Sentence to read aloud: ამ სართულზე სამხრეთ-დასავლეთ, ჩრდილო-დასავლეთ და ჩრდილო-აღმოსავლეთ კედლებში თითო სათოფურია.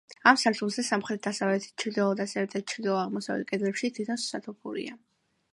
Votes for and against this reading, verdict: 2, 0, accepted